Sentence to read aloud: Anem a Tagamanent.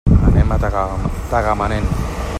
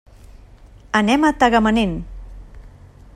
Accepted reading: second